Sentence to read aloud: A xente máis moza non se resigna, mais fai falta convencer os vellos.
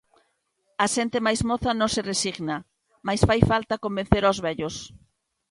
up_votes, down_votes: 2, 0